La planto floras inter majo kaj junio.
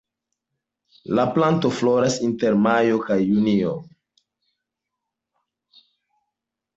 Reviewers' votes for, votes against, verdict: 3, 1, accepted